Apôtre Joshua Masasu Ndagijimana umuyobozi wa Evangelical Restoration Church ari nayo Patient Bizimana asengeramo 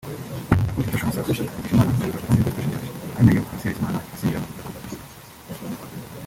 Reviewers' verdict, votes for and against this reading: rejected, 1, 3